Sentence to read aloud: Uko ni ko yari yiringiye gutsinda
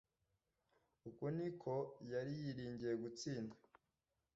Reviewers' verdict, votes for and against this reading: rejected, 0, 2